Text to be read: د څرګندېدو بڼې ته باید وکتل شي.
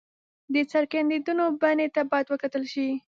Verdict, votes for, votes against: rejected, 1, 2